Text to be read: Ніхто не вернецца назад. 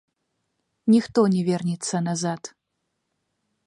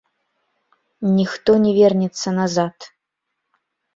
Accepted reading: second